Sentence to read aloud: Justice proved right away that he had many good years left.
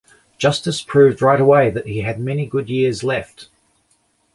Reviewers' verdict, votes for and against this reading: accepted, 3, 0